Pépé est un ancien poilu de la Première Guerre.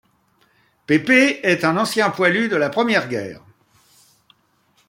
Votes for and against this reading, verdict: 2, 0, accepted